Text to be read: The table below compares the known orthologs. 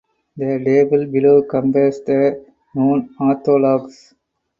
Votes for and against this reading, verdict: 0, 4, rejected